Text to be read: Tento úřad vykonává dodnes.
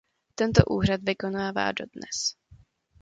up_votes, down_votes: 2, 0